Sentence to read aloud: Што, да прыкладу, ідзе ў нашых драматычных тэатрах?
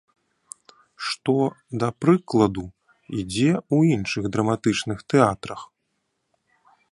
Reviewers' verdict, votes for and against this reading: rejected, 0, 2